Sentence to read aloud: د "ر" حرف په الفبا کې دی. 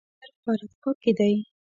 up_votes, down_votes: 0, 2